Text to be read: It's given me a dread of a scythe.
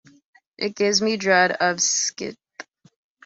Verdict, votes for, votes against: rejected, 0, 2